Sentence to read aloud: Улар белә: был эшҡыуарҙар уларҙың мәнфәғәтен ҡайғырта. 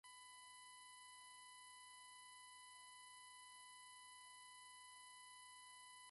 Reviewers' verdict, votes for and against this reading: rejected, 0, 2